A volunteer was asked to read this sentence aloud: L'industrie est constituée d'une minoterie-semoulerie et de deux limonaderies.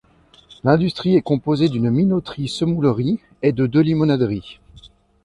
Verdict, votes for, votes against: rejected, 1, 2